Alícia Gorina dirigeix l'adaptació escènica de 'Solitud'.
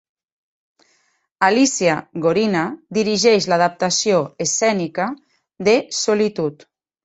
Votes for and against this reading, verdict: 3, 0, accepted